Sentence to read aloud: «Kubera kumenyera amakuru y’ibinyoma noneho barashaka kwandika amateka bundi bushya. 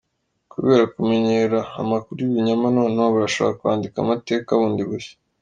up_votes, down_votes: 2, 0